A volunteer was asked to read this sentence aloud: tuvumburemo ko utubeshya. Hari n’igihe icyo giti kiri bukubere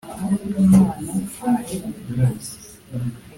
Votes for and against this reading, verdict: 0, 2, rejected